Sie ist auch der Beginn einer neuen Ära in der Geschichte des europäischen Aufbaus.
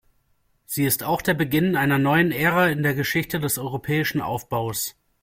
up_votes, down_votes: 2, 0